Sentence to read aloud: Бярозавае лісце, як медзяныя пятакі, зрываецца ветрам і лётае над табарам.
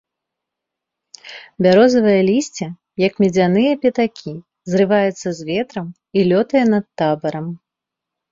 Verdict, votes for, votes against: rejected, 0, 2